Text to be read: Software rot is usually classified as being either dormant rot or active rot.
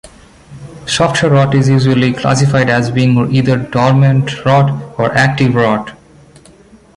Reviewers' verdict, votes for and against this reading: accepted, 2, 0